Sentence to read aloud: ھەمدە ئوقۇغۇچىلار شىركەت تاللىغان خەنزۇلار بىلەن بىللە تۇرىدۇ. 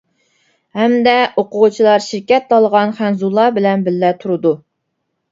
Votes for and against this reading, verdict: 1, 2, rejected